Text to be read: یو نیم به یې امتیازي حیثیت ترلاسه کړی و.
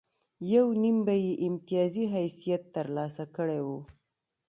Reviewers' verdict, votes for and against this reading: rejected, 0, 2